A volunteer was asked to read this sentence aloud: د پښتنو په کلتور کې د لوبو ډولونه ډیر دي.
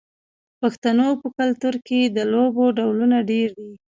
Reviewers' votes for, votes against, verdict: 3, 0, accepted